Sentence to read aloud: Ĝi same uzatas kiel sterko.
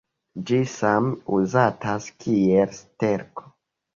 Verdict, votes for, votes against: rejected, 0, 2